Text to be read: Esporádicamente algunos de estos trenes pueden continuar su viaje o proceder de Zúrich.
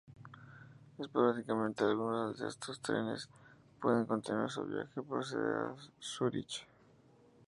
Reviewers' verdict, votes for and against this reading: rejected, 2, 4